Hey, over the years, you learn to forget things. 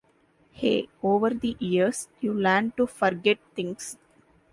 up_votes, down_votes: 2, 0